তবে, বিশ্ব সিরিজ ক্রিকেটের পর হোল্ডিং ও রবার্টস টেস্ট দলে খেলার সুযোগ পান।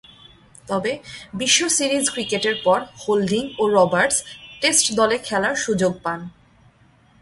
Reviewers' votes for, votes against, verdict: 2, 0, accepted